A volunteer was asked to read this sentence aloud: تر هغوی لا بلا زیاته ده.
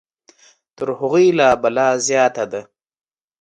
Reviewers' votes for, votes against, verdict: 2, 0, accepted